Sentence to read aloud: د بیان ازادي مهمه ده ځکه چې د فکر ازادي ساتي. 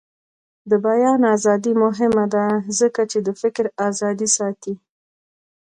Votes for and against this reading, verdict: 2, 0, accepted